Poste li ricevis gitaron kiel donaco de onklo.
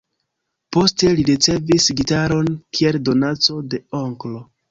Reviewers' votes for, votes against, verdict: 2, 1, accepted